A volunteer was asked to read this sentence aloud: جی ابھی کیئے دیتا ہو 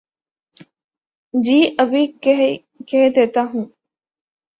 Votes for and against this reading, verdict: 0, 2, rejected